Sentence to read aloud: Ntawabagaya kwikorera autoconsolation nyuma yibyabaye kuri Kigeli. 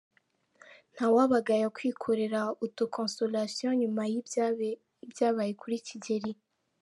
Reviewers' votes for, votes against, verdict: 0, 4, rejected